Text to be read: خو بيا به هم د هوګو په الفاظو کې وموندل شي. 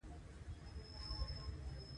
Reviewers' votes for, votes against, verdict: 0, 2, rejected